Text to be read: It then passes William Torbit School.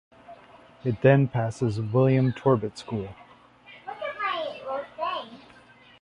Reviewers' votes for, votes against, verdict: 1, 2, rejected